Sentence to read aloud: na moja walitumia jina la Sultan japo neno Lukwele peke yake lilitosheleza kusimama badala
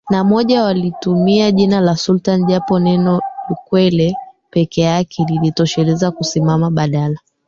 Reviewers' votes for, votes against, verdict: 0, 2, rejected